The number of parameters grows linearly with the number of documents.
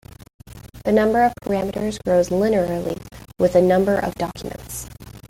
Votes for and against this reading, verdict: 2, 0, accepted